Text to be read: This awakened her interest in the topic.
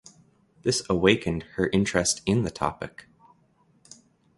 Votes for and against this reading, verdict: 2, 1, accepted